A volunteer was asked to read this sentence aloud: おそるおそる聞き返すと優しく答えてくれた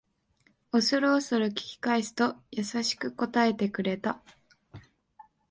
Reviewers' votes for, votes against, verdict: 4, 1, accepted